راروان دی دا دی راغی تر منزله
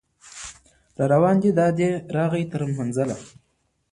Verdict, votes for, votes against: rejected, 1, 2